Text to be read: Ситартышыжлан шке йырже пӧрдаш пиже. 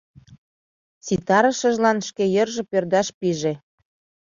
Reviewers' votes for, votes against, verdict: 1, 2, rejected